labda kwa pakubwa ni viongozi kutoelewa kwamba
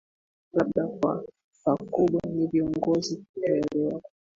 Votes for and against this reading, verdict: 1, 3, rejected